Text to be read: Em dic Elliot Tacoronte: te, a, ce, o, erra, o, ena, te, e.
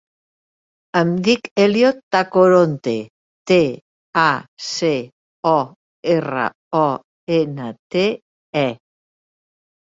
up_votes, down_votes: 2, 0